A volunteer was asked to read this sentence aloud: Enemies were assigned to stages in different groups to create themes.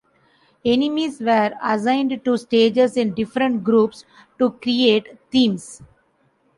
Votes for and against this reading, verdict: 2, 0, accepted